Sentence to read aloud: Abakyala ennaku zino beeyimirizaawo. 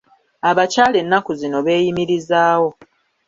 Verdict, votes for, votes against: accepted, 2, 0